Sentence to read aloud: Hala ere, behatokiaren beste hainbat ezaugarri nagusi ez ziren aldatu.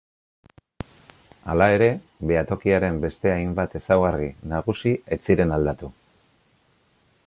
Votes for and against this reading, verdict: 2, 0, accepted